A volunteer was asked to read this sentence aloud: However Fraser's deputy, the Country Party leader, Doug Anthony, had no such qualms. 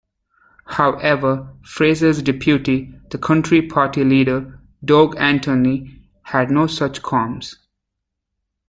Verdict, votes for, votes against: rejected, 0, 2